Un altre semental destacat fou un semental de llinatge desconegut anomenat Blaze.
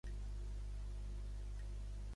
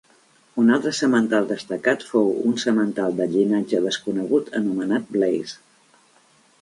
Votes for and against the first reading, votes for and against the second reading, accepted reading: 0, 2, 3, 0, second